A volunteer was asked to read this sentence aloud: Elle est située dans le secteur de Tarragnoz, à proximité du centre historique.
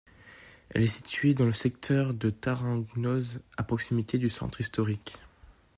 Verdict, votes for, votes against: rejected, 1, 2